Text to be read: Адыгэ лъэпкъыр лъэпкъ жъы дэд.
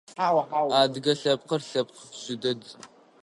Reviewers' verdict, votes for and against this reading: rejected, 0, 2